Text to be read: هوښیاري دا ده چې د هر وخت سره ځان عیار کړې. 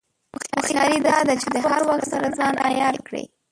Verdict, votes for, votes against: rejected, 0, 2